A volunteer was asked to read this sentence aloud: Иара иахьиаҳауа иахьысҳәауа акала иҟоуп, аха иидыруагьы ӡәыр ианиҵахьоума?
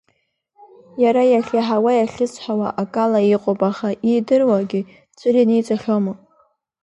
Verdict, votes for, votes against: accepted, 2, 0